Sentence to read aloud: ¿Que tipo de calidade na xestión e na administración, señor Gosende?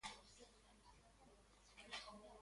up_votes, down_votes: 0, 3